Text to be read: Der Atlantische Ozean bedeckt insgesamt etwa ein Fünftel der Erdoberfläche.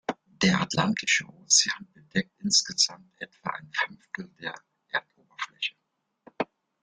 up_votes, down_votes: 0, 2